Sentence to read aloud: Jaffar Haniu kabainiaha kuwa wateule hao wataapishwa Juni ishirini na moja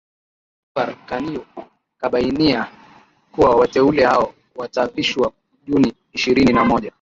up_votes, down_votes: 0, 2